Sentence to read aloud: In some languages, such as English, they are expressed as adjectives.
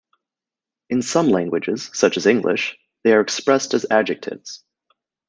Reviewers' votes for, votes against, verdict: 2, 0, accepted